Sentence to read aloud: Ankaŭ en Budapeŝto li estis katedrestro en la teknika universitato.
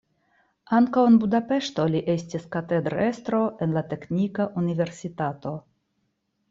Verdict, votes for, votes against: accepted, 2, 0